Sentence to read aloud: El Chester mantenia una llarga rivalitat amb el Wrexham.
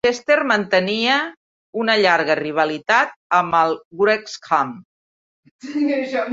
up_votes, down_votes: 0, 2